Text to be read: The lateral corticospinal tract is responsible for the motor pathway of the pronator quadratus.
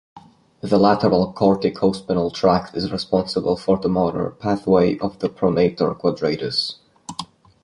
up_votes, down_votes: 0, 2